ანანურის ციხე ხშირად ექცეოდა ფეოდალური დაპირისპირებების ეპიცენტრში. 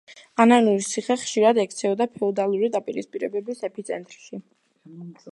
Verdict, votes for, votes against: rejected, 1, 2